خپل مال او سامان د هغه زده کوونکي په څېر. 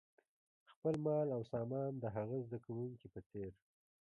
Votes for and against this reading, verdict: 2, 0, accepted